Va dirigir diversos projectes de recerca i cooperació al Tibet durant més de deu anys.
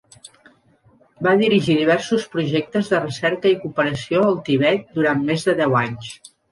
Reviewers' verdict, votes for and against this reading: accepted, 3, 0